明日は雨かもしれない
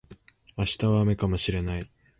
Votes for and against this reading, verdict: 2, 0, accepted